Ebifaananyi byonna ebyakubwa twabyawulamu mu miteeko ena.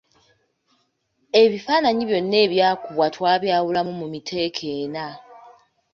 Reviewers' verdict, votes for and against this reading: rejected, 0, 2